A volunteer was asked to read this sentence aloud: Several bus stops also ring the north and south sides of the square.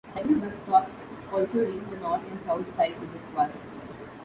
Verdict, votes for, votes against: rejected, 1, 2